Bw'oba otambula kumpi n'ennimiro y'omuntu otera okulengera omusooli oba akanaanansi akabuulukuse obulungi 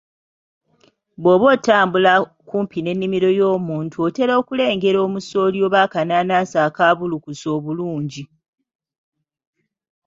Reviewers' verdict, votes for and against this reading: accepted, 2, 0